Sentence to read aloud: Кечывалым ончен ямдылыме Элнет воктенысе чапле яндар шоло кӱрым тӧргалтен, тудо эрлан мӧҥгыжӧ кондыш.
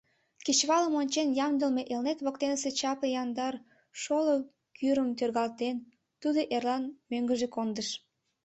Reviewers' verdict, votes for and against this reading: accepted, 2, 0